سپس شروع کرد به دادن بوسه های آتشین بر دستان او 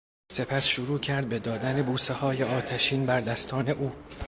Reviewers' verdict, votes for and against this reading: accepted, 2, 0